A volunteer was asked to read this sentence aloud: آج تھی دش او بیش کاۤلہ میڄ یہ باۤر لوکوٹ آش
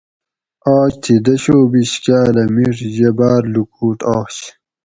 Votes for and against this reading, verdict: 4, 0, accepted